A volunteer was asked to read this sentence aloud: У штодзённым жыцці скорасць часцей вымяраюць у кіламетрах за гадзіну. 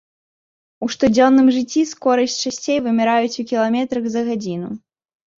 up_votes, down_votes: 2, 0